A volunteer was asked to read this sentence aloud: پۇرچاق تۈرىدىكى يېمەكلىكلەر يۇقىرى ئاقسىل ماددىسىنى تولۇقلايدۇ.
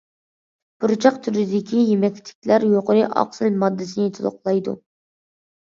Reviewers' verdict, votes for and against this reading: accepted, 2, 1